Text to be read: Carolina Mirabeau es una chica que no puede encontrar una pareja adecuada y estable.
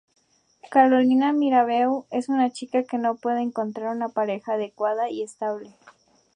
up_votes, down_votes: 2, 0